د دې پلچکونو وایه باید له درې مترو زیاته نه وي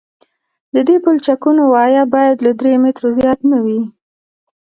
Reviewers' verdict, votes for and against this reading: rejected, 1, 2